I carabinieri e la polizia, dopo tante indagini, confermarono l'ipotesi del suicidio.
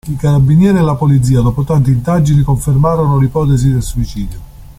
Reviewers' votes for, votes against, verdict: 2, 0, accepted